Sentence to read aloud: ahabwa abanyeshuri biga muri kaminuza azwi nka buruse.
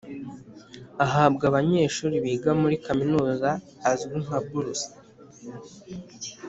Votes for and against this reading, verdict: 3, 0, accepted